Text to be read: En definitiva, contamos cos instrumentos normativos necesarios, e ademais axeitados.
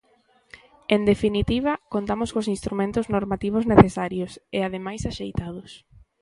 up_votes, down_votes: 2, 0